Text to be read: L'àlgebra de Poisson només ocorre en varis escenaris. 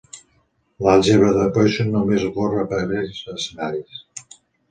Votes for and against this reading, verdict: 0, 2, rejected